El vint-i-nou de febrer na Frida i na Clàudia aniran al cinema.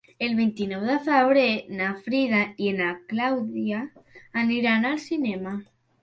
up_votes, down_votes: 3, 0